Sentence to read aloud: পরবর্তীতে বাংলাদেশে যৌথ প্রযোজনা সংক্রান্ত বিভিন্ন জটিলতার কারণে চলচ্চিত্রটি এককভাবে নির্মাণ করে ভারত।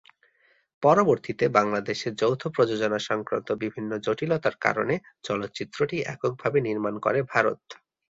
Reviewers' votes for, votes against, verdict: 6, 0, accepted